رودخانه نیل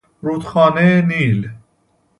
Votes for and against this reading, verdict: 2, 0, accepted